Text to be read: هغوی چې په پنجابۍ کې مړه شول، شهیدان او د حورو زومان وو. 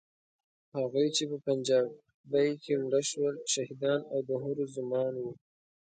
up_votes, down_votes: 1, 2